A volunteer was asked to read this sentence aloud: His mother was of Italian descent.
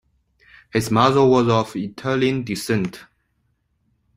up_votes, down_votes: 3, 0